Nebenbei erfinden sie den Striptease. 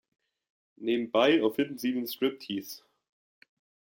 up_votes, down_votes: 2, 1